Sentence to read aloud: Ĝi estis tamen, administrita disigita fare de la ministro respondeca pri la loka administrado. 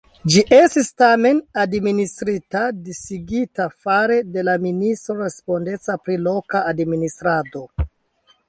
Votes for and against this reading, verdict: 3, 2, accepted